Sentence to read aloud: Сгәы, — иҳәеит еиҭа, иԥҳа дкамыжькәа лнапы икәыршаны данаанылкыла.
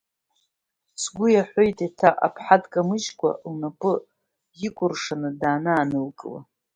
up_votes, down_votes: 0, 2